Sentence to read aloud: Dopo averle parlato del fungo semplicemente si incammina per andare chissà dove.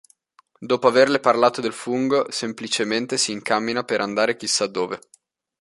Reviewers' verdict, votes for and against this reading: rejected, 1, 2